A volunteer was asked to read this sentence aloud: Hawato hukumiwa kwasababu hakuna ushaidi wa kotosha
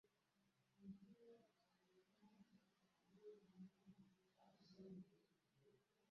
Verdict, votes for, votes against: rejected, 0, 4